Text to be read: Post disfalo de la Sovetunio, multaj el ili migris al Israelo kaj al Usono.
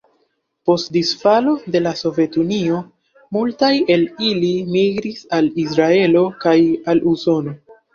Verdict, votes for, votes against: accepted, 2, 1